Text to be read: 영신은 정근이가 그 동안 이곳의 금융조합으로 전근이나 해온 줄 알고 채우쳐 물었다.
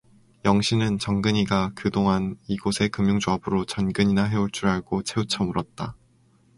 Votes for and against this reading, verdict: 4, 0, accepted